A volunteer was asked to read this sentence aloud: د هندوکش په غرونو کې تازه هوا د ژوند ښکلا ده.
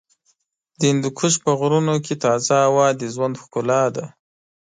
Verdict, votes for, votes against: accepted, 2, 0